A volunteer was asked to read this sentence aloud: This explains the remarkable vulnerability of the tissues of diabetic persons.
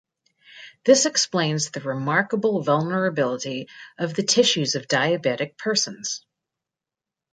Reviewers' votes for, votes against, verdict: 3, 0, accepted